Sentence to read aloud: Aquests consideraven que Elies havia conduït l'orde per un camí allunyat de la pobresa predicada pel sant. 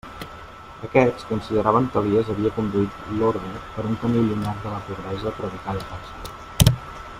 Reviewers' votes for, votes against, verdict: 0, 2, rejected